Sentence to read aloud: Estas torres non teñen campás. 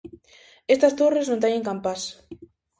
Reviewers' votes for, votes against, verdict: 2, 0, accepted